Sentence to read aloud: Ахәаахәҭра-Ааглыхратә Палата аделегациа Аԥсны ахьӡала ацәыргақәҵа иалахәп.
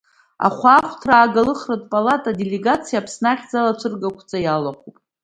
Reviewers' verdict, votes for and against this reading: accepted, 2, 0